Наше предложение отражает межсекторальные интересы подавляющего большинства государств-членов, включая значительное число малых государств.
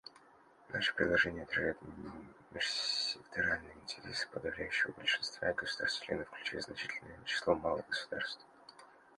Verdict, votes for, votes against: rejected, 1, 2